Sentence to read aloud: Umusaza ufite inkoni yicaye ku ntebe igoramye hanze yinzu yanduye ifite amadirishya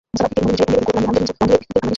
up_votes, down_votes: 0, 2